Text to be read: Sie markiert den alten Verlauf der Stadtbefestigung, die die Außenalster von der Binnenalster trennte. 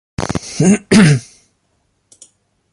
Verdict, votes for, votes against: rejected, 0, 2